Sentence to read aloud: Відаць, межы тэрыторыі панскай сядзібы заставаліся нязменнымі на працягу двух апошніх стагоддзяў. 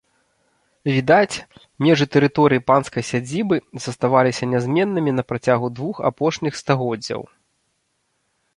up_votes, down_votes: 2, 0